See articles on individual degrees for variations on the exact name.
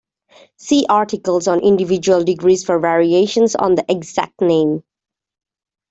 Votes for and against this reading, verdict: 2, 0, accepted